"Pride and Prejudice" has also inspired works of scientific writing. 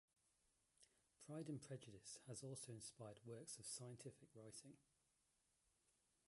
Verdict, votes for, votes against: accepted, 2, 1